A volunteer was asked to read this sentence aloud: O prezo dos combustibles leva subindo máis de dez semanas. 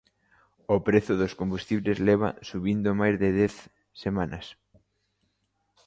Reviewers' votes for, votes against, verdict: 2, 0, accepted